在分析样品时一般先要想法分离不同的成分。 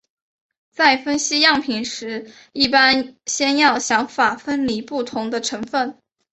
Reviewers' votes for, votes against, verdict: 2, 1, accepted